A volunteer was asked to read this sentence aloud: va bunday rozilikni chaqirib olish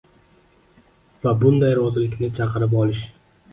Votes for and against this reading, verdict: 2, 1, accepted